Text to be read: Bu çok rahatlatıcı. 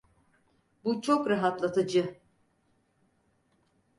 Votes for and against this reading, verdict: 4, 0, accepted